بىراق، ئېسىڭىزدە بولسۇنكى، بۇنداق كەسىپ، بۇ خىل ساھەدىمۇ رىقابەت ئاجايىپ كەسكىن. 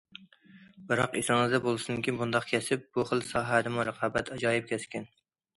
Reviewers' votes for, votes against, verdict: 2, 1, accepted